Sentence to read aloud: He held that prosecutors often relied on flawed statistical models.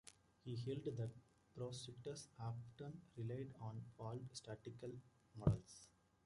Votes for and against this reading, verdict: 0, 2, rejected